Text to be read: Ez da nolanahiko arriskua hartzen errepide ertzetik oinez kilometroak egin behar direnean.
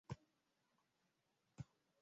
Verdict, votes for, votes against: rejected, 0, 4